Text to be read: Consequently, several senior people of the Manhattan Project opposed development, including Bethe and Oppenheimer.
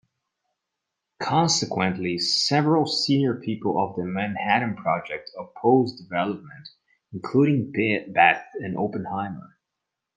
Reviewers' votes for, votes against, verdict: 0, 2, rejected